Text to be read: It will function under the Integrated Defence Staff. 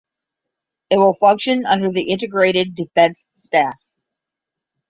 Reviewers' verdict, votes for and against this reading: accepted, 10, 0